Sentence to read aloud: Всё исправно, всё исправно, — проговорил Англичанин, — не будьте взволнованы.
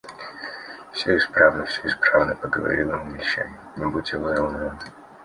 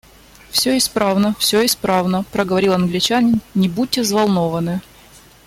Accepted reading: second